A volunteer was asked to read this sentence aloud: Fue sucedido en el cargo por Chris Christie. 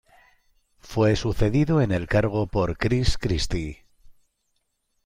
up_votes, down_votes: 2, 0